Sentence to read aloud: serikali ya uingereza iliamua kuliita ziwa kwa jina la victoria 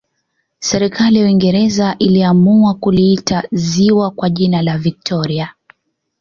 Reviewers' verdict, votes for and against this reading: accepted, 2, 1